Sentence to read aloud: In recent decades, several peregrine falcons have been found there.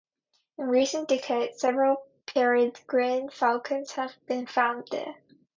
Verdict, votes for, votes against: accepted, 2, 0